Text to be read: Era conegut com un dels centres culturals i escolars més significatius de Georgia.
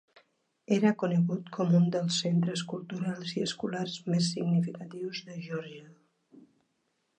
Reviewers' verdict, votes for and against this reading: accepted, 3, 1